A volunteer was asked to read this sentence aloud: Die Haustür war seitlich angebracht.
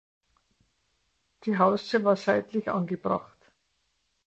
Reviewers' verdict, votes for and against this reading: accepted, 2, 0